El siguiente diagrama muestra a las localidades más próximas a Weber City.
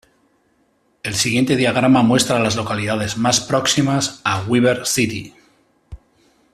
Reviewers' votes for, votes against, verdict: 2, 0, accepted